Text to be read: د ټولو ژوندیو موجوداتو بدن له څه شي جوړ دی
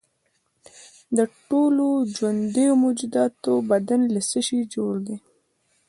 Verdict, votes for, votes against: rejected, 0, 2